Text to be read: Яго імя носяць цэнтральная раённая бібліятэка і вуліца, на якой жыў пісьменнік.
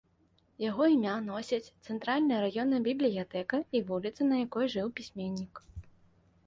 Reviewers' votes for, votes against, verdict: 2, 0, accepted